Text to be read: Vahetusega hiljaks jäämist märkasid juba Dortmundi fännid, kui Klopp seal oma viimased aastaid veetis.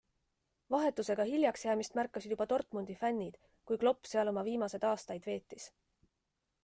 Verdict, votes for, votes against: accepted, 2, 0